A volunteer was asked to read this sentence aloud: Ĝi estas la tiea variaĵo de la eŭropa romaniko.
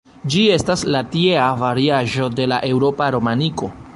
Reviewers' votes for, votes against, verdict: 1, 2, rejected